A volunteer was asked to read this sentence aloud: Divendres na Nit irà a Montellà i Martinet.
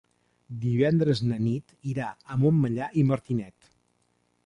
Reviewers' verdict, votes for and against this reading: rejected, 1, 2